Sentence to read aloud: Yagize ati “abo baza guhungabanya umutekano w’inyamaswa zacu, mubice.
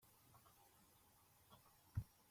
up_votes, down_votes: 0, 2